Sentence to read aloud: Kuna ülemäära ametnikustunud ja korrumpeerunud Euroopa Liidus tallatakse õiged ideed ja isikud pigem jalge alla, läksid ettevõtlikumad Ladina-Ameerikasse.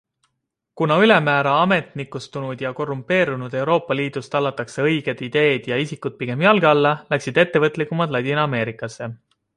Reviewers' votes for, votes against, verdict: 2, 0, accepted